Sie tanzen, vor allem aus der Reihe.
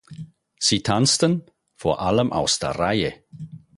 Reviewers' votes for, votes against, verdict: 0, 4, rejected